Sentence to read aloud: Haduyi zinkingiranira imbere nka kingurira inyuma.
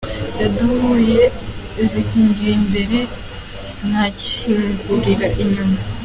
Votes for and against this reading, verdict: 2, 1, accepted